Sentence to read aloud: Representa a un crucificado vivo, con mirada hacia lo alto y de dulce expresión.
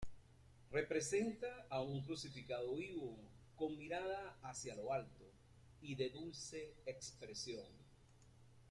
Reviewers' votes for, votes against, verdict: 1, 2, rejected